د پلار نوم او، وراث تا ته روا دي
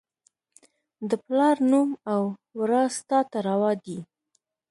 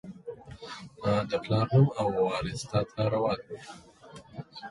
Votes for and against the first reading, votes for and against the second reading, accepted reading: 1, 2, 2, 0, second